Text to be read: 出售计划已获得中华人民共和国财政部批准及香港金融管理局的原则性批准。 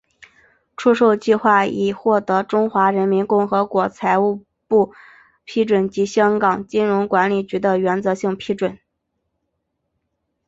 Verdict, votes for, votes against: accepted, 2, 0